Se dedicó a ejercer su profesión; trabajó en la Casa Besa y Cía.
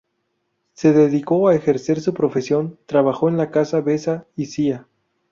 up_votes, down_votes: 4, 0